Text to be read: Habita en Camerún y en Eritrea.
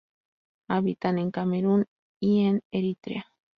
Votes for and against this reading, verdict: 0, 2, rejected